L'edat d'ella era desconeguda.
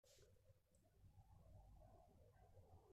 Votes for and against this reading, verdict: 0, 2, rejected